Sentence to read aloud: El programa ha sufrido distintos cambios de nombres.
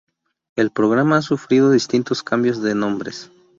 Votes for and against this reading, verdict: 0, 2, rejected